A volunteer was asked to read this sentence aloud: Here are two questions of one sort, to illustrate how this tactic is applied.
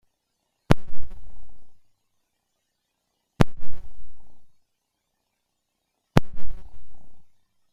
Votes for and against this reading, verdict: 0, 2, rejected